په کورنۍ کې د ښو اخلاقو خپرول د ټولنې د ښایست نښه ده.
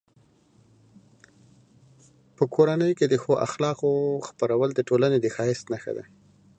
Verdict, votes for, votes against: accepted, 2, 0